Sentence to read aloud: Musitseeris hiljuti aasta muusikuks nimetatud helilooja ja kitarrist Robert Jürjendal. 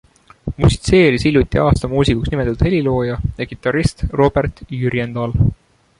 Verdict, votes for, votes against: accepted, 2, 0